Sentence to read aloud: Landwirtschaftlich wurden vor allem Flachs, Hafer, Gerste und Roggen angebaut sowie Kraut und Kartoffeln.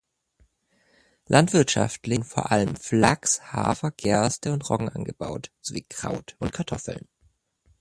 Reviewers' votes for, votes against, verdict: 0, 2, rejected